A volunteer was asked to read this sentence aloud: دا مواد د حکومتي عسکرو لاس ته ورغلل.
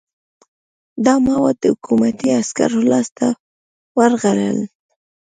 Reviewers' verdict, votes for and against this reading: rejected, 0, 2